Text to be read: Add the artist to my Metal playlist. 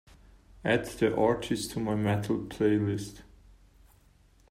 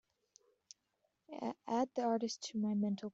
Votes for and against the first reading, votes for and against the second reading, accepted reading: 2, 0, 0, 2, first